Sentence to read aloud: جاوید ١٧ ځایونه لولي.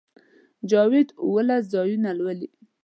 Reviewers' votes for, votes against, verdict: 0, 2, rejected